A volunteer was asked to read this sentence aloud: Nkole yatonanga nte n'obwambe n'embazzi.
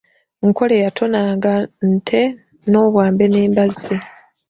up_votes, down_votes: 2, 0